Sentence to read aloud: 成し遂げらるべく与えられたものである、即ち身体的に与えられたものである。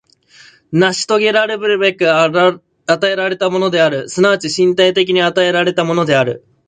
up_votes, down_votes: 0, 2